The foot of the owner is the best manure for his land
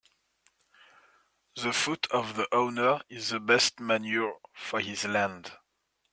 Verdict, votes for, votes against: accepted, 2, 0